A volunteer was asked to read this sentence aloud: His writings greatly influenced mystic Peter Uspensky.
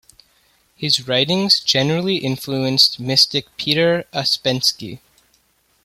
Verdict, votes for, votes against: rejected, 1, 2